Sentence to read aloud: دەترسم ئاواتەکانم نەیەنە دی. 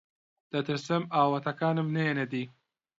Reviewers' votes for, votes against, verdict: 2, 0, accepted